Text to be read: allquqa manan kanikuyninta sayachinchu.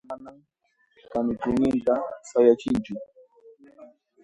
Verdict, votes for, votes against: rejected, 0, 2